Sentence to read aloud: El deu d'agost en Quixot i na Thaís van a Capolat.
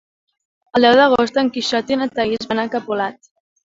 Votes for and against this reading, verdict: 2, 1, accepted